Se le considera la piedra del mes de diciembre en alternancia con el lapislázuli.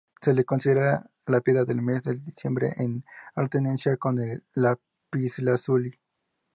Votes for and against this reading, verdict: 0, 2, rejected